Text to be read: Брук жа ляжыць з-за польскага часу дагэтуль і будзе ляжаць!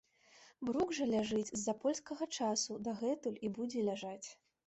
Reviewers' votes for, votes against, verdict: 3, 0, accepted